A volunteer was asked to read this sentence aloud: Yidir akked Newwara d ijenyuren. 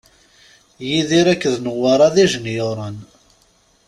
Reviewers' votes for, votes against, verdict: 2, 0, accepted